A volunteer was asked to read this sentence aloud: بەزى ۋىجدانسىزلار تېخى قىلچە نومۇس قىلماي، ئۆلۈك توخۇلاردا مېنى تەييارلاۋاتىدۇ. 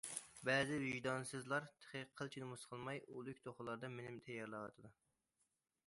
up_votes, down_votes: 2, 0